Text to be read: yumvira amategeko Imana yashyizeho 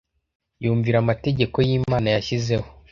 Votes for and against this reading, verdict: 0, 2, rejected